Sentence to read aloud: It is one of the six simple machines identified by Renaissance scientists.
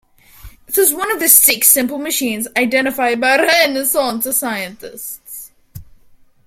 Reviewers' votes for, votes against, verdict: 1, 2, rejected